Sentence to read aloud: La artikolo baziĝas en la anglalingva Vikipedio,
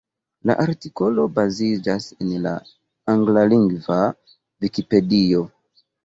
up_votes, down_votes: 2, 0